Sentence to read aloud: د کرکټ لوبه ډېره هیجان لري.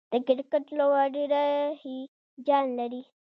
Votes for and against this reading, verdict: 2, 0, accepted